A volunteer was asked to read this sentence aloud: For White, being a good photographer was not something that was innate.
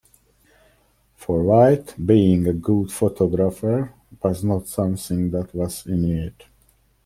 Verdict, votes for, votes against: accepted, 2, 0